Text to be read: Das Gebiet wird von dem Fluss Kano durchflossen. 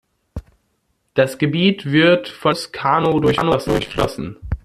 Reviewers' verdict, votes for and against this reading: rejected, 0, 2